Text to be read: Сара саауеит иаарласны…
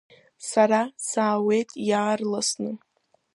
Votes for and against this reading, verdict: 2, 1, accepted